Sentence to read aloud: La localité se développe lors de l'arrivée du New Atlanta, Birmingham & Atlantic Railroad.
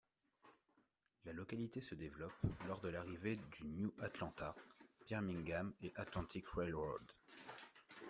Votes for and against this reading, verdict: 0, 2, rejected